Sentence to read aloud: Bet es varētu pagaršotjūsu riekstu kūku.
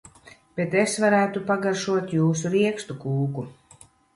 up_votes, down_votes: 1, 2